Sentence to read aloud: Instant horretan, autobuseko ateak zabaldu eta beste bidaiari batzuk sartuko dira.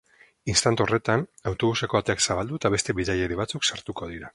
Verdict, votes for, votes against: accepted, 4, 2